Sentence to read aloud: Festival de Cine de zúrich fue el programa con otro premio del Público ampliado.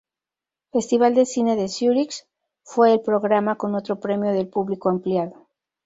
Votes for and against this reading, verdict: 0, 2, rejected